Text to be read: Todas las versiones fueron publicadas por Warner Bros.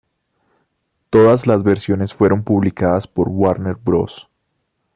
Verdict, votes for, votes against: accepted, 2, 0